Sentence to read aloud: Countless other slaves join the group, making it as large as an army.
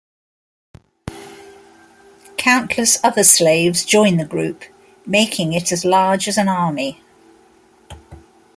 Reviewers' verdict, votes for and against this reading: accepted, 2, 0